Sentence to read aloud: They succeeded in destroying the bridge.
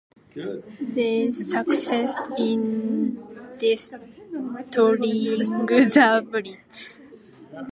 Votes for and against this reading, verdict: 0, 2, rejected